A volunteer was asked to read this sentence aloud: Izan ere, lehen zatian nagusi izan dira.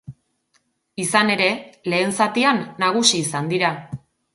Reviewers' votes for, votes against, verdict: 2, 0, accepted